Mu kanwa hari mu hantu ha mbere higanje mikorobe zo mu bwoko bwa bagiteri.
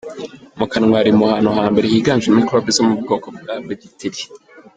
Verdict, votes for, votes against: rejected, 1, 2